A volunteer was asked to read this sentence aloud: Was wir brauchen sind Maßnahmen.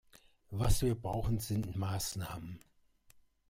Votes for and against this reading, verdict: 1, 2, rejected